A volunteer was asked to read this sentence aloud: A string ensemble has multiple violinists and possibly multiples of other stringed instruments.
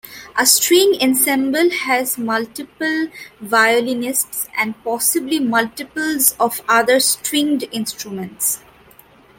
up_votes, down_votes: 1, 2